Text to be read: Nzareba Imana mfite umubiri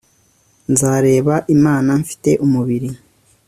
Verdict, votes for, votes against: accepted, 2, 0